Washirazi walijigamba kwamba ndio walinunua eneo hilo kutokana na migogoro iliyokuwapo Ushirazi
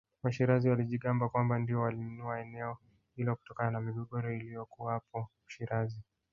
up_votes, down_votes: 1, 2